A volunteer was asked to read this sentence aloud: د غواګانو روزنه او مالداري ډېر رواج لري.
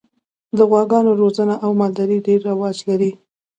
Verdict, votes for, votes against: accepted, 2, 0